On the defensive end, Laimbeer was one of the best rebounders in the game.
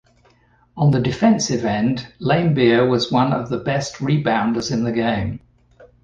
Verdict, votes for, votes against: accepted, 2, 0